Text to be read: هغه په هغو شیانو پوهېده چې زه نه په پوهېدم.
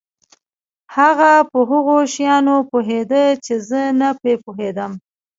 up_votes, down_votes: 2, 0